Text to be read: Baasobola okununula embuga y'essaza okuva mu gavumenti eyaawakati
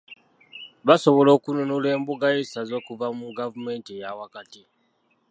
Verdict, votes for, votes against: accepted, 2, 0